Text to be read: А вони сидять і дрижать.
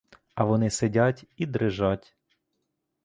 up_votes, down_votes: 2, 0